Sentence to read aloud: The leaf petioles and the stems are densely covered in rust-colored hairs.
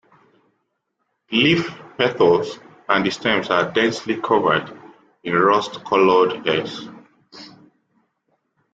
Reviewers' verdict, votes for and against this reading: rejected, 1, 2